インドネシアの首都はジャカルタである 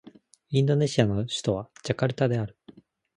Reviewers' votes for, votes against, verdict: 2, 0, accepted